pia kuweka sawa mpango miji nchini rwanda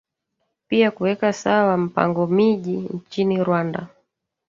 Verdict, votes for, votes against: rejected, 0, 2